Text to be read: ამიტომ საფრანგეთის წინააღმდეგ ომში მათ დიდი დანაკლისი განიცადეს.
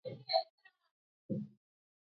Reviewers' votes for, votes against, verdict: 0, 2, rejected